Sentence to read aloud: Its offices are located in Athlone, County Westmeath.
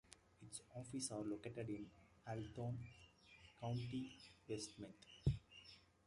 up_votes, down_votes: 0, 2